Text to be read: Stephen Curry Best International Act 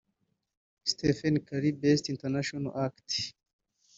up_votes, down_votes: 2, 1